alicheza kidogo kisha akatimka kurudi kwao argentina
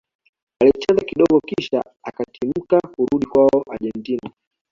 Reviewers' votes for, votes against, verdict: 2, 0, accepted